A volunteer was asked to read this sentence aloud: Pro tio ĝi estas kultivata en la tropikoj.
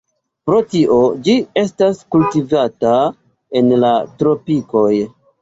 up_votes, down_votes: 1, 2